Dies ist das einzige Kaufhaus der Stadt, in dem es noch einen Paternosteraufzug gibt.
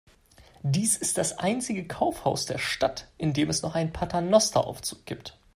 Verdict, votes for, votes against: accepted, 2, 0